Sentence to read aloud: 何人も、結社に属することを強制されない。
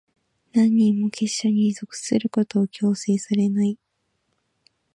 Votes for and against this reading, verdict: 1, 2, rejected